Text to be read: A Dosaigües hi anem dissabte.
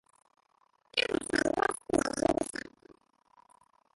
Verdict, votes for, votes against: rejected, 0, 2